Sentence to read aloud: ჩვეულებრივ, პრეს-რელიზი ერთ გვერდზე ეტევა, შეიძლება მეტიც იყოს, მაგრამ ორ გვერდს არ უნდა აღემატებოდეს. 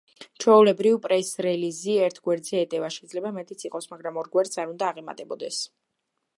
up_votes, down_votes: 2, 0